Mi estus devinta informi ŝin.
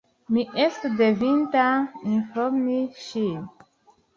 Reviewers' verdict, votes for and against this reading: rejected, 1, 2